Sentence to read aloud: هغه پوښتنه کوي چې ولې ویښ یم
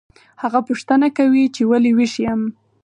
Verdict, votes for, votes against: accepted, 4, 0